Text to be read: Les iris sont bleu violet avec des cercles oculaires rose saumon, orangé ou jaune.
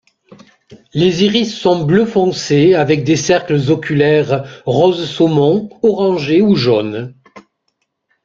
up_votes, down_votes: 0, 2